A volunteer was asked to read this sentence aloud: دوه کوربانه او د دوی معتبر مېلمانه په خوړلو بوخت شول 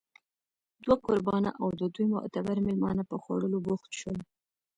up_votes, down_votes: 2, 1